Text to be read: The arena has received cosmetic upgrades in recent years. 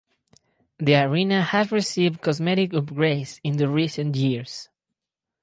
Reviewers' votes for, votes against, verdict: 0, 4, rejected